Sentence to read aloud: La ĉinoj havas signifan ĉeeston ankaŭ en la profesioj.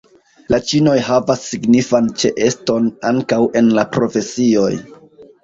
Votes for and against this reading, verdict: 2, 0, accepted